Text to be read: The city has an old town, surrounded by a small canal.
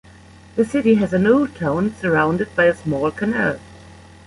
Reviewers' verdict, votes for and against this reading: accepted, 2, 0